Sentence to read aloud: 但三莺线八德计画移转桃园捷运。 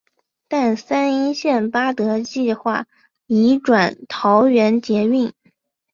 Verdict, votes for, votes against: accepted, 2, 0